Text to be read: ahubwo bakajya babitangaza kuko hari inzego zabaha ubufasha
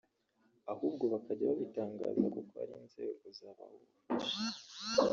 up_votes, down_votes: 1, 2